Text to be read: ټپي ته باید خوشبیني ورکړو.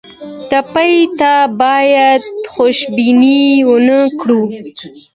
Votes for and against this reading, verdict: 2, 0, accepted